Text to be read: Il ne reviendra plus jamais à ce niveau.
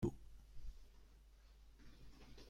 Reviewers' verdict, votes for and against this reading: rejected, 0, 2